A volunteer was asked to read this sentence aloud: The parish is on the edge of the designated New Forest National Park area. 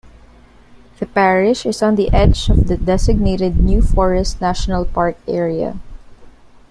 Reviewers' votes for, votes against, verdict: 2, 0, accepted